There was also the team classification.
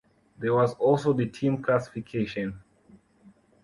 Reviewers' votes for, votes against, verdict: 2, 0, accepted